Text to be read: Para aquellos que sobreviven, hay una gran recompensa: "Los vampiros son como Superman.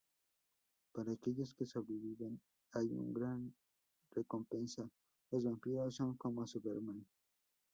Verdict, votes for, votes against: rejected, 0, 2